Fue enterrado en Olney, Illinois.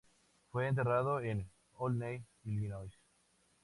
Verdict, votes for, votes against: accepted, 4, 0